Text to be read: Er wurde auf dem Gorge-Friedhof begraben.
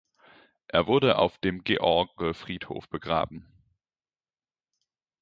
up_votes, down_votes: 0, 2